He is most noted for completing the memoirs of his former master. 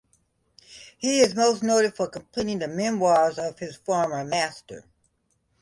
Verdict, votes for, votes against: accepted, 2, 0